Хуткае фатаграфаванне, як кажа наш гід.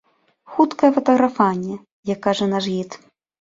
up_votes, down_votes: 1, 2